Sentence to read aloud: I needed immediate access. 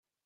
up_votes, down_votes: 0, 4